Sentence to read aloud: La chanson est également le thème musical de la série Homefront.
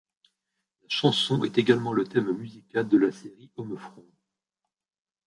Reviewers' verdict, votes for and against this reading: rejected, 1, 2